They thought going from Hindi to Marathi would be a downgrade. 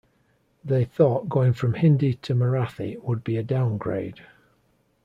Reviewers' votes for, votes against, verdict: 2, 0, accepted